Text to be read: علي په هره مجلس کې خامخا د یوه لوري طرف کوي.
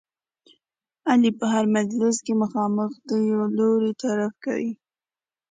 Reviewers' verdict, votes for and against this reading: accepted, 2, 1